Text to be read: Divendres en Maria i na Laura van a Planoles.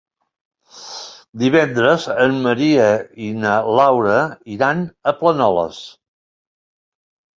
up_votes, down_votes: 0, 2